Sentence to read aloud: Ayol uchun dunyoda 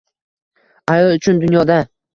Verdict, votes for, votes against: accepted, 2, 0